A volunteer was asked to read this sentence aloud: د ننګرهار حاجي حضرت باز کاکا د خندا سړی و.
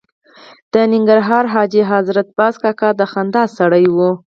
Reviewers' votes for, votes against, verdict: 0, 4, rejected